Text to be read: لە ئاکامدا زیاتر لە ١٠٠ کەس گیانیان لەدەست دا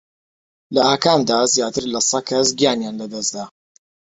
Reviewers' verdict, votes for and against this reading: rejected, 0, 2